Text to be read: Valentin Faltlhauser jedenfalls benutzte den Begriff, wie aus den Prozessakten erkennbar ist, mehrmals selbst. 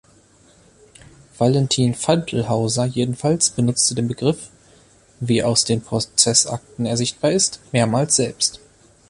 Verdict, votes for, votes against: rejected, 0, 2